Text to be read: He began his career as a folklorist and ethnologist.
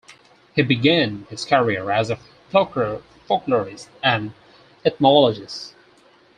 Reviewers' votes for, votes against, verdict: 0, 4, rejected